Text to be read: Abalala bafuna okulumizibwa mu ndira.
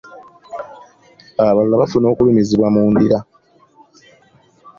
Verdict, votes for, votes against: accepted, 2, 0